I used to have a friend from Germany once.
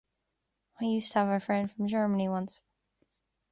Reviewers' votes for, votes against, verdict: 2, 0, accepted